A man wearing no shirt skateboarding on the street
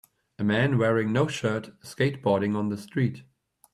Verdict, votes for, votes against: accepted, 2, 0